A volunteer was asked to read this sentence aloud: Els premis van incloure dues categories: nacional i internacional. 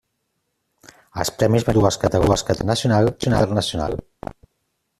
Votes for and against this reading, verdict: 0, 2, rejected